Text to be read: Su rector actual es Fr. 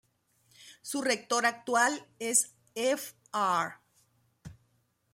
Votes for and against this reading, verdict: 0, 3, rejected